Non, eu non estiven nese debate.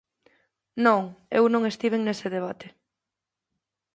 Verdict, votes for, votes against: accepted, 2, 0